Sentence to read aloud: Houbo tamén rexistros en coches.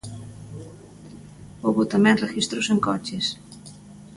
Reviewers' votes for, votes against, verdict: 0, 2, rejected